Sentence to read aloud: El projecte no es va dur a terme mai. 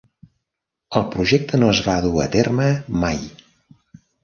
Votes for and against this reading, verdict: 3, 0, accepted